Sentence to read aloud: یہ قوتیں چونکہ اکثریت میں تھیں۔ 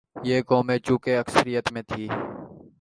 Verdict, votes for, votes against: accepted, 3, 2